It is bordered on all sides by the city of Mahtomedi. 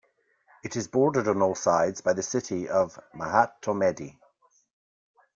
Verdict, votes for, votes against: accepted, 2, 1